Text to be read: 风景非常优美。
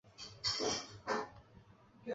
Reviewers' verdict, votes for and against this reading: rejected, 3, 5